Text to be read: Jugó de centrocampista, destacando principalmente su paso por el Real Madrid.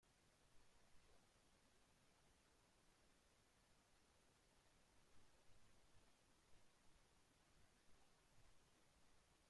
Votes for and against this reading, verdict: 0, 2, rejected